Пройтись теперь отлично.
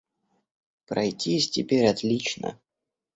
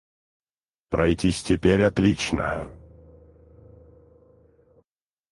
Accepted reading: first